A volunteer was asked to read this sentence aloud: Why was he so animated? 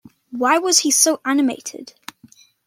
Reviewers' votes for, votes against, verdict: 2, 0, accepted